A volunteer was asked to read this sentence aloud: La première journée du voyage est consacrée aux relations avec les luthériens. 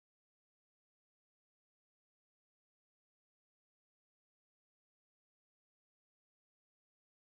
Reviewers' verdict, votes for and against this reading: rejected, 0, 2